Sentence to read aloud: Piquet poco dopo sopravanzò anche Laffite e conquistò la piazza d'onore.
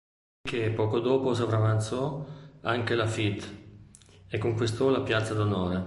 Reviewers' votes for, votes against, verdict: 0, 2, rejected